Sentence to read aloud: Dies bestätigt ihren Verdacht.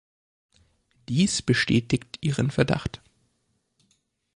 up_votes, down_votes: 2, 0